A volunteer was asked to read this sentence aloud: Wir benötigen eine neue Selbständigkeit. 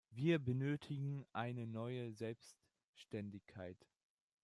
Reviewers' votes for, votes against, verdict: 2, 1, accepted